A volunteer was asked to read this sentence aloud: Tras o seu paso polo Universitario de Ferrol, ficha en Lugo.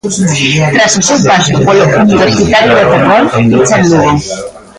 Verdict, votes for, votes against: rejected, 0, 2